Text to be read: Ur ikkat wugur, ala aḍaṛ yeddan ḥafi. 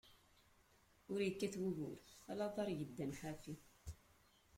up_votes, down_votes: 0, 2